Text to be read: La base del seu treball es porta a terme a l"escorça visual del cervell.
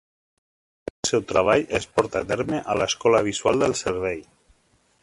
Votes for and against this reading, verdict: 1, 2, rejected